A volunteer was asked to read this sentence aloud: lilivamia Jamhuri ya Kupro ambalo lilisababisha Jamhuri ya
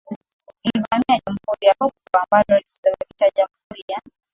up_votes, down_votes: 0, 4